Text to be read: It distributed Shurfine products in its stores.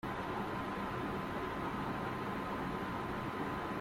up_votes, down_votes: 0, 2